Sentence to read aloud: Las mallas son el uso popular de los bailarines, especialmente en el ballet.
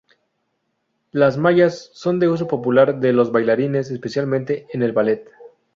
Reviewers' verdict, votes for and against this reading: rejected, 2, 4